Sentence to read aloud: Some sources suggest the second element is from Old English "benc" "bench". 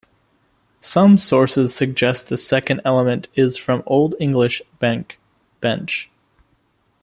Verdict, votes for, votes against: accepted, 2, 0